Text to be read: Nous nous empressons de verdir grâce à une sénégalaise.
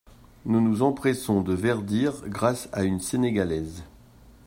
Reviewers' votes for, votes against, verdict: 2, 0, accepted